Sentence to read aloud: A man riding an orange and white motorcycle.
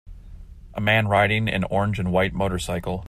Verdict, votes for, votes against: accepted, 2, 0